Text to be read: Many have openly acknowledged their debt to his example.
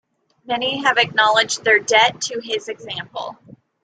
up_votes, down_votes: 0, 2